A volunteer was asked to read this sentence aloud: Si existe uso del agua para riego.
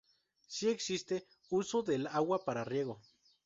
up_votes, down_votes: 4, 0